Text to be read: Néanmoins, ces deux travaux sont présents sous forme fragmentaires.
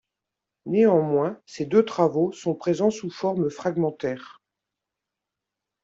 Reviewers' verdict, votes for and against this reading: accepted, 2, 0